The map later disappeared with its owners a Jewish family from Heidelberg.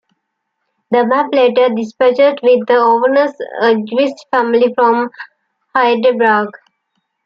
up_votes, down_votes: 0, 2